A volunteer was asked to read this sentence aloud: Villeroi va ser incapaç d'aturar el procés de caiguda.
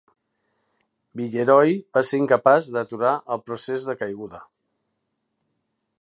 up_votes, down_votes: 3, 0